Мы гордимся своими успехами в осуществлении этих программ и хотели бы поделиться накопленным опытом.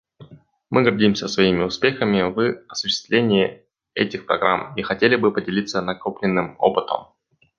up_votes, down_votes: 2, 0